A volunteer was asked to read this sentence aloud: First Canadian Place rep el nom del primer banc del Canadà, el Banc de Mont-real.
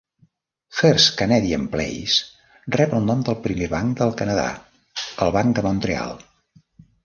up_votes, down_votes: 1, 2